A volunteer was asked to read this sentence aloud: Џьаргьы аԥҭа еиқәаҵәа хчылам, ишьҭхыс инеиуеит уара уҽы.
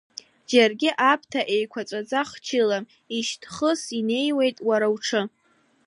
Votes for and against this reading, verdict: 2, 0, accepted